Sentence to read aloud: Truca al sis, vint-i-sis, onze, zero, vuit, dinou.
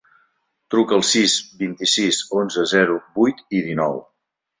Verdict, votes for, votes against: rejected, 1, 2